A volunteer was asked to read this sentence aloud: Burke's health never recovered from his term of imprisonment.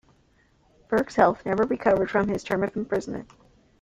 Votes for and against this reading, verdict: 2, 0, accepted